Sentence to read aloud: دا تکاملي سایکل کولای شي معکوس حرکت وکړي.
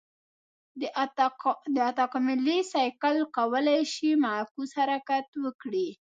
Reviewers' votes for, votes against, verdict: 1, 3, rejected